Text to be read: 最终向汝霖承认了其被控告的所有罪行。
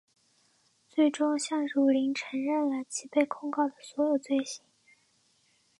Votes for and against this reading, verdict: 4, 0, accepted